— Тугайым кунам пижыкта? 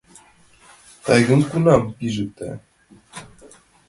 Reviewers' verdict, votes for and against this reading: rejected, 1, 2